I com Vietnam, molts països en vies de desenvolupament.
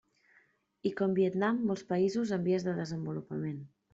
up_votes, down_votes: 2, 0